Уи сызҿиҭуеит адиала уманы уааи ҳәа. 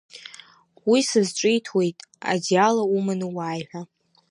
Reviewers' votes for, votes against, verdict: 2, 0, accepted